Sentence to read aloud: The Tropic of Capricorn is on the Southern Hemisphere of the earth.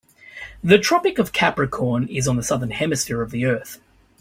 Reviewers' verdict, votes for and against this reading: accepted, 2, 0